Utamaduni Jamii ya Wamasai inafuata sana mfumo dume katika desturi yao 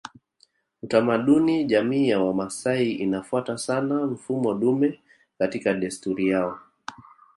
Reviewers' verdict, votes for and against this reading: accepted, 2, 1